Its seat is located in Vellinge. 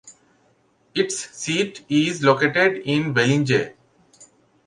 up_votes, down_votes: 2, 1